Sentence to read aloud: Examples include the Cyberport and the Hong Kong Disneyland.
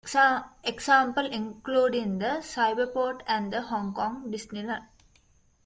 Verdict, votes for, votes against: accepted, 2, 1